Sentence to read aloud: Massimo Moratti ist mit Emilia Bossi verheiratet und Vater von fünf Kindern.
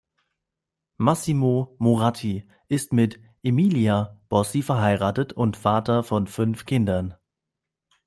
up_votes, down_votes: 2, 0